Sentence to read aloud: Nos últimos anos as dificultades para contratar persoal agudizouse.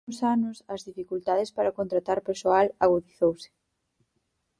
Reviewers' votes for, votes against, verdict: 2, 4, rejected